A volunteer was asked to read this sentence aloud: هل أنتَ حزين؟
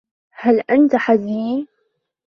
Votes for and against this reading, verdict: 1, 2, rejected